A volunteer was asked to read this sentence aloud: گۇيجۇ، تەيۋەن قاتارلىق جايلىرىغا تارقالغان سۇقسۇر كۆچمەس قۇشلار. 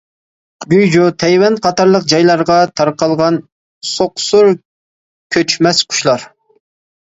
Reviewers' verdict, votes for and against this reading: rejected, 0, 2